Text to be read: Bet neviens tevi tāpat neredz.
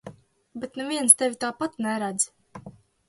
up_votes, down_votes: 2, 0